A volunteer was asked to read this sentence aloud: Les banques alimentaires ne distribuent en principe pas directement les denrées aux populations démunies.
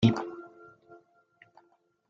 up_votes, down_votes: 0, 2